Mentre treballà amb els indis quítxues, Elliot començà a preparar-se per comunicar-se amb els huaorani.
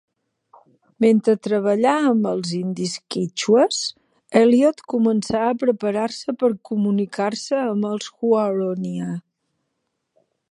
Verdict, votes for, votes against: rejected, 1, 2